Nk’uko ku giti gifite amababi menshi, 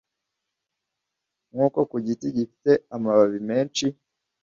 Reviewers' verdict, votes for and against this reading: accepted, 2, 0